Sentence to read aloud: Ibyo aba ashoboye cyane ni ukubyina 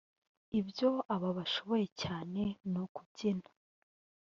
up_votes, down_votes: 1, 2